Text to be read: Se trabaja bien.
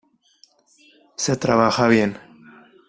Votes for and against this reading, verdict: 0, 2, rejected